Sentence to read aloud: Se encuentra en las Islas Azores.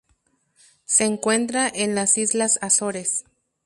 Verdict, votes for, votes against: accepted, 2, 0